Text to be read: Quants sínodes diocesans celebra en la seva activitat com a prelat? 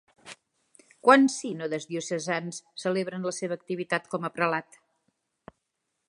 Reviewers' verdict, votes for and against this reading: accepted, 3, 0